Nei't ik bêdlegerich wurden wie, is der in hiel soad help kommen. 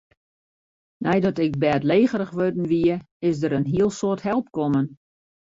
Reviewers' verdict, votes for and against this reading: rejected, 0, 2